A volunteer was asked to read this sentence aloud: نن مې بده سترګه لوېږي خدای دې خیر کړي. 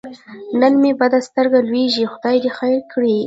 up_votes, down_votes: 1, 2